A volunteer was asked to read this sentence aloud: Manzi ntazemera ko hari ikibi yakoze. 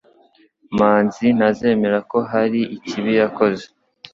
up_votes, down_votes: 2, 0